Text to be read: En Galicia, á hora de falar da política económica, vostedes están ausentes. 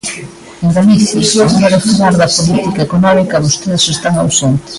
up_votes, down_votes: 0, 2